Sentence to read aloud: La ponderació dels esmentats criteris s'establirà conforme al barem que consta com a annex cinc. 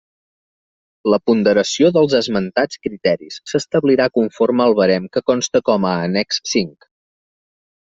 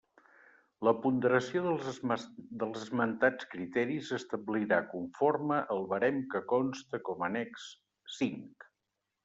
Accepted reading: first